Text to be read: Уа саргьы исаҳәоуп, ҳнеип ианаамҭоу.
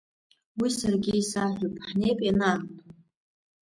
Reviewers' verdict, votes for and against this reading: rejected, 1, 2